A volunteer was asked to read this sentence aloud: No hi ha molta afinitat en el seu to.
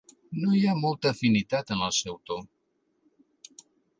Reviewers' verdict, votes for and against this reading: accepted, 2, 0